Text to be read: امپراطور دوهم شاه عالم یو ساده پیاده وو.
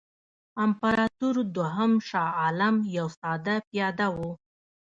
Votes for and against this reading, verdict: 0, 2, rejected